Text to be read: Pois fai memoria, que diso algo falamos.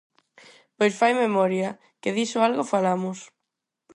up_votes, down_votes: 4, 0